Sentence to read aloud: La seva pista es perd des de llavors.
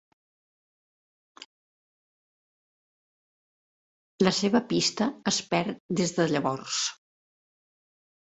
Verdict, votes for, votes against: rejected, 1, 2